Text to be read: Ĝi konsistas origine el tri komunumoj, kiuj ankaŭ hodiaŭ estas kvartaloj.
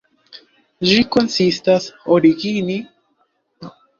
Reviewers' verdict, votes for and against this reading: rejected, 0, 2